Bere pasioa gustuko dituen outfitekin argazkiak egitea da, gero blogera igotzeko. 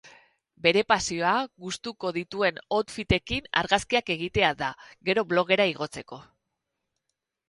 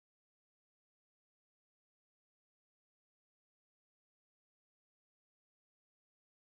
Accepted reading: first